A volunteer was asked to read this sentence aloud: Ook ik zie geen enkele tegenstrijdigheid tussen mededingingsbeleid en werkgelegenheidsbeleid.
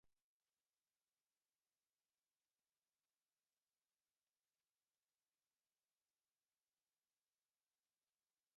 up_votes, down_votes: 0, 2